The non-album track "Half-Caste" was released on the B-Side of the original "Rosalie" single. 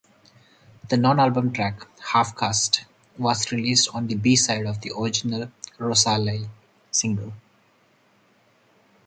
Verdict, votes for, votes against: accepted, 2, 0